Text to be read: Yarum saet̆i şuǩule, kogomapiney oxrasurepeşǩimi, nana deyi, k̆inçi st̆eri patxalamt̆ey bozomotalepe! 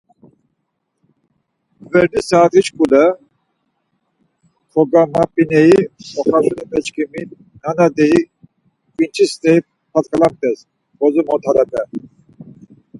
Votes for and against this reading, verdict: 0, 4, rejected